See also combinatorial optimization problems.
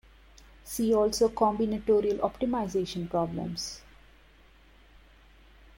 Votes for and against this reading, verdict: 0, 2, rejected